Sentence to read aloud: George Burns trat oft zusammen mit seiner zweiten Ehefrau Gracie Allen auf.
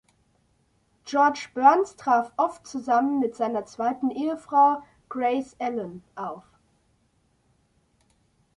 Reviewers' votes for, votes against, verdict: 1, 2, rejected